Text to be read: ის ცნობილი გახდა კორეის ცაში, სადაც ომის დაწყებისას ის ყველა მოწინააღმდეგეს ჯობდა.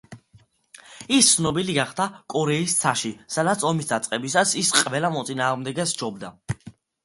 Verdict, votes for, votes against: accepted, 2, 0